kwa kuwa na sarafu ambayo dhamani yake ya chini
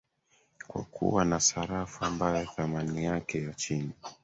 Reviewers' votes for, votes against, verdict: 0, 2, rejected